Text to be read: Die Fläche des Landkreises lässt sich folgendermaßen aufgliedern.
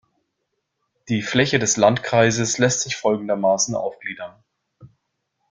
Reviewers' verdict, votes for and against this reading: accepted, 2, 0